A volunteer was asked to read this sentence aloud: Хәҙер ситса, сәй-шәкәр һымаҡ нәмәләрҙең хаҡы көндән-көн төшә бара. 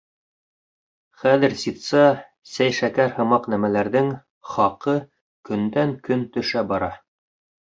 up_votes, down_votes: 2, 0